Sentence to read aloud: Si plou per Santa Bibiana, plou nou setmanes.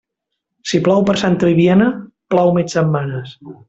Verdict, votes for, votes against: rejected, 0, 2